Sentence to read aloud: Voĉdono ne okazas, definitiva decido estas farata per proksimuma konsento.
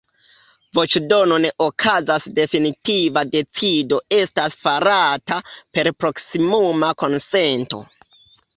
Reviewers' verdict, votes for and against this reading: accepted, 2, 1